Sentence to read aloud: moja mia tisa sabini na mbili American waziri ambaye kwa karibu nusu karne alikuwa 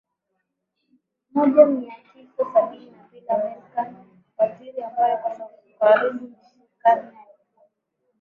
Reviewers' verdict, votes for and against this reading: rejected, 0, 2